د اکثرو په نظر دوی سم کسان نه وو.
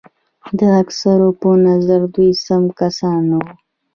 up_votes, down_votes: 2, 0